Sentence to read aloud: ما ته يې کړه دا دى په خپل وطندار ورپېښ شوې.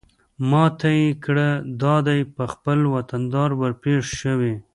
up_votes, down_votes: 0, 2